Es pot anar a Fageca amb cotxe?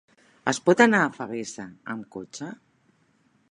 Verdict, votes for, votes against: rejected, 0, 4